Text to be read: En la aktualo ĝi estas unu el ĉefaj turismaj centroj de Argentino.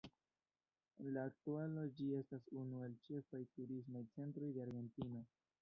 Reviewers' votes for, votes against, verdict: 0, 2, rejected